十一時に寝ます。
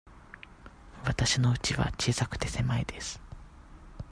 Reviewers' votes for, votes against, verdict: 0, 2, rejected